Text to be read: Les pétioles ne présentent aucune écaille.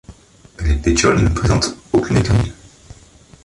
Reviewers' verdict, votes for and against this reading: rejected, 0, 2